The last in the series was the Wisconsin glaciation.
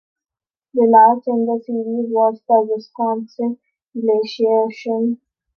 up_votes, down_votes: 3, 0